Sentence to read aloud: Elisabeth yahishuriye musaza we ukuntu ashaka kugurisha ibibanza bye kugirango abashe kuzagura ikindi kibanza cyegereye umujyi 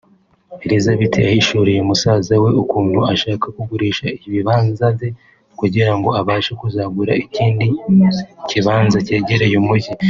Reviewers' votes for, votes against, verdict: 2, 0, accepted